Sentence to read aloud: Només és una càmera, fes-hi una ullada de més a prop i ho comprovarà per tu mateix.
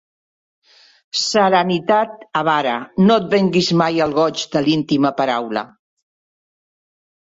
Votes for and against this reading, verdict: 0, 2, rejected